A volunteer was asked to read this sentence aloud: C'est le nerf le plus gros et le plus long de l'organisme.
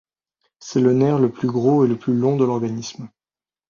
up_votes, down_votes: 2, 0